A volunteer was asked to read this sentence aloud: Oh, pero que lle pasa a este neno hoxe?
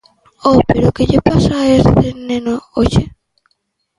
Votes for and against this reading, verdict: 2, 0, accepted